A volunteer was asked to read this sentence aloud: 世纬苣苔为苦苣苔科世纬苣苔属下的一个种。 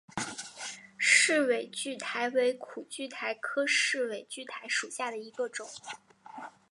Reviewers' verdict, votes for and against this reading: accepted, 2, 0